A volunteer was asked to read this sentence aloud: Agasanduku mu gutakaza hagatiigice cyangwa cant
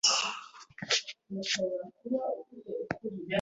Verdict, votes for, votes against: rejected, 1, 2